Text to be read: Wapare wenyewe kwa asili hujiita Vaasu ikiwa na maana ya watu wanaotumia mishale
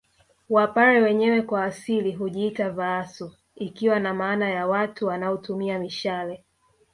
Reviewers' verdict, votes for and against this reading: rejected, 1, 2